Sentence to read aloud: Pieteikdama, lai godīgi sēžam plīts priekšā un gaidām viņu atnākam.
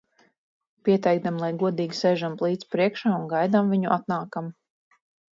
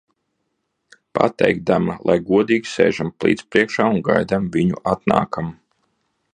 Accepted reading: first